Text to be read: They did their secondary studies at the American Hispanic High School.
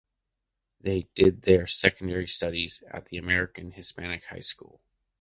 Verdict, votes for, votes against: accepted, 2, 0